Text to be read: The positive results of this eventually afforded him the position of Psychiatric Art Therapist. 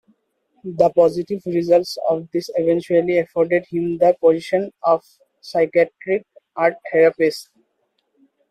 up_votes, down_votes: 2, 1